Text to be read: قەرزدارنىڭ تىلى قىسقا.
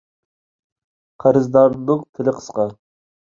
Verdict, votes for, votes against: rejected, 1, 2